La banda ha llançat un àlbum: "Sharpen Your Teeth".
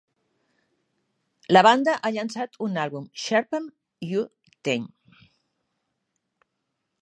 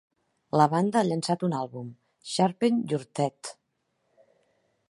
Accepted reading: second